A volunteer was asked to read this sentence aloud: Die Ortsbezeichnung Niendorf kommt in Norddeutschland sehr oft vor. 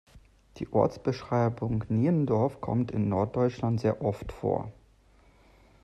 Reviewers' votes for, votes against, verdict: 0, 2, rejected